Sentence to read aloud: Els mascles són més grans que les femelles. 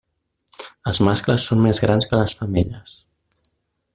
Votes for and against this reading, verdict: 3, 0, accepted